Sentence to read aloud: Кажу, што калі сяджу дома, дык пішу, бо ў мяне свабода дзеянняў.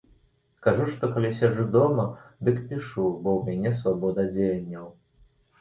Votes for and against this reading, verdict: 2, 0, accepted